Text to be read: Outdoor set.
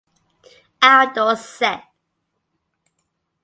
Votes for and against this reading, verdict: 2, 0, accepted